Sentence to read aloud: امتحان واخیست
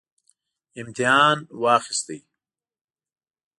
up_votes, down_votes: 1, 2